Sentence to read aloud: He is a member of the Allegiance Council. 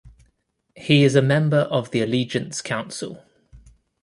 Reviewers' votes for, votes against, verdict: 2, 0, accepted